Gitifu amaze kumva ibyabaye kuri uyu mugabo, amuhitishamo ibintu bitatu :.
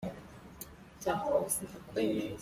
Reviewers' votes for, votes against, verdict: 0, 2, rejected